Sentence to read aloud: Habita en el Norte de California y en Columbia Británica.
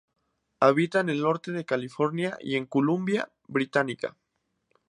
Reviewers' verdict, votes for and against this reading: accepted, 2, 0